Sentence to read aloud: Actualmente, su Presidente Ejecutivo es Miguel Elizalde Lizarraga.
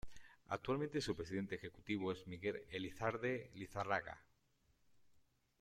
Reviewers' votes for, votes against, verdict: 0, 2, rejected